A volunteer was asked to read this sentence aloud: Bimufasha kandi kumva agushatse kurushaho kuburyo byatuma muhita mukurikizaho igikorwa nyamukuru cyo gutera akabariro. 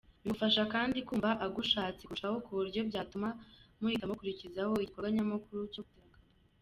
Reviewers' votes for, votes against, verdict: 2, 1, accepted